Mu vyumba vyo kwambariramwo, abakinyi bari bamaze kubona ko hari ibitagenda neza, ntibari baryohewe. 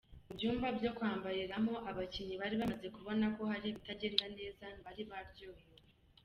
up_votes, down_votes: 1, 2